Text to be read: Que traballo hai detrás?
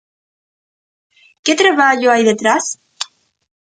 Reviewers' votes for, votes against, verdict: 2, 0, accepted